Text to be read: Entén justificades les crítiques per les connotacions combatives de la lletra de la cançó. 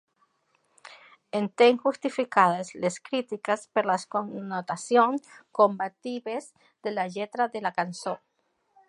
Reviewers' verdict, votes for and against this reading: accepted, 2, 0